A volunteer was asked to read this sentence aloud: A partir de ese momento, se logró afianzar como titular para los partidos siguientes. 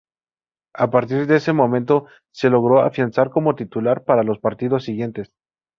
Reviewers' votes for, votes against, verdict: 0, 2, rejected